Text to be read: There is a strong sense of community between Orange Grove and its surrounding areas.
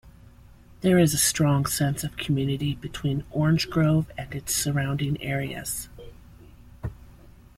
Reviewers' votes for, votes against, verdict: 2, 0, accepted